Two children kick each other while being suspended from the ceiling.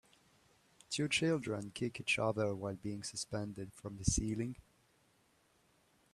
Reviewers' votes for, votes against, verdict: 2, 0, accepted